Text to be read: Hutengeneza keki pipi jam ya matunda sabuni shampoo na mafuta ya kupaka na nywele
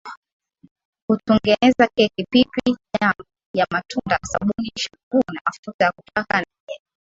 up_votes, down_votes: 1, 12